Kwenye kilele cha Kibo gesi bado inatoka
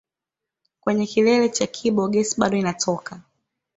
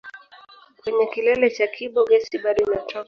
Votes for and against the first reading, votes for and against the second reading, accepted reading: 2, 1, 1, 2, first